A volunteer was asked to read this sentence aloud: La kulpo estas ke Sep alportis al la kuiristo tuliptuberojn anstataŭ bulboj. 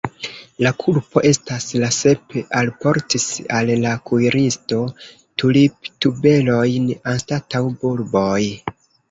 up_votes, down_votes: 0, 2